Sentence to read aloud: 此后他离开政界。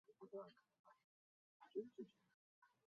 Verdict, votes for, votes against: rejected, 0, 2